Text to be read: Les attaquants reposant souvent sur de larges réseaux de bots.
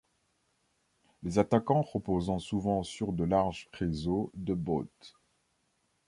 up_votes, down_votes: 1, 2